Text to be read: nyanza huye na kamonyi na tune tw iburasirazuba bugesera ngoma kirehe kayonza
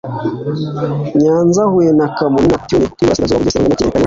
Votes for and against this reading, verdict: 0, 2, rejected